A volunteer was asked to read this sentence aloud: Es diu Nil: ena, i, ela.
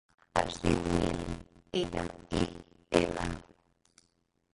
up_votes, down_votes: 0, 2